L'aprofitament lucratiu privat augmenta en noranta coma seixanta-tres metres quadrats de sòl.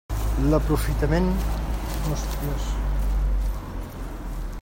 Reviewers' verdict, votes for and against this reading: rejected, 0, 2